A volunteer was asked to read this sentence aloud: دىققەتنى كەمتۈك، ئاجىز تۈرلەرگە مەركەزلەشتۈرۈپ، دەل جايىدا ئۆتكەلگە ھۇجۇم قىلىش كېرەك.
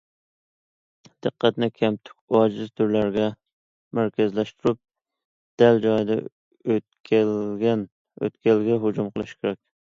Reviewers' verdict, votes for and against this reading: rejected, 1, 2